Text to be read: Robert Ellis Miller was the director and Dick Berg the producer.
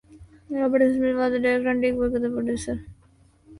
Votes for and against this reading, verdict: 1, 2, rejected